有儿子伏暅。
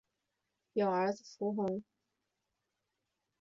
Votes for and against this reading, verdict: 2, 0, accepted